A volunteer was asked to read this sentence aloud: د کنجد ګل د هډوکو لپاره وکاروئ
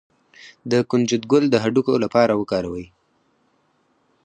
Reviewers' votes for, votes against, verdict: 2, 4, rejected